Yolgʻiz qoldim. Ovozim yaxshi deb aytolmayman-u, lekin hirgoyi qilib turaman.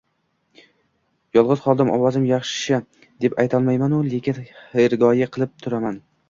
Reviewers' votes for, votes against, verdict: 0, 2, rejected